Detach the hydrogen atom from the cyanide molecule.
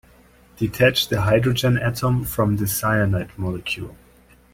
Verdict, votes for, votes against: accepted, 3, 0